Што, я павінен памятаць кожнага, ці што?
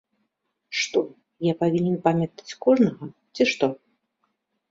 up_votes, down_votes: 2, 0